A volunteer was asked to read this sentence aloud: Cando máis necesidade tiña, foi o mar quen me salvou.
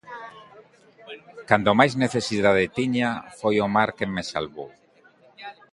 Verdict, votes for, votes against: accepted, 2, 0